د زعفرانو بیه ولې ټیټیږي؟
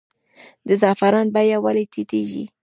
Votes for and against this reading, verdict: 2, 1, accepted